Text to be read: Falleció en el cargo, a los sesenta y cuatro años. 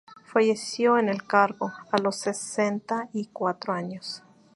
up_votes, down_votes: 2, 0